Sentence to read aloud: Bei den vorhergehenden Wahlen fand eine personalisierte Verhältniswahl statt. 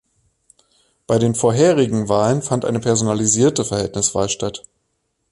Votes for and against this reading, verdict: 1, 2, rejected